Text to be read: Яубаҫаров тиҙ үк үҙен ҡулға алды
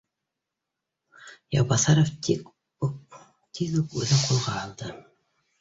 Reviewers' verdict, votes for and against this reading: rejected, 0, 2